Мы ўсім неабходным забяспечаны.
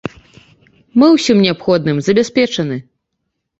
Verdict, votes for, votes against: accepted, 2, 0